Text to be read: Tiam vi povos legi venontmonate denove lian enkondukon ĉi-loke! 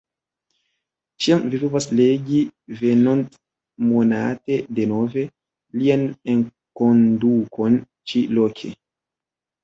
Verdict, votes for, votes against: rejected, 0, 2